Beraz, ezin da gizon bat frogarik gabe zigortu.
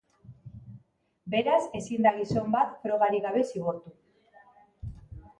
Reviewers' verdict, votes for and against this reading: accepted, 2, 0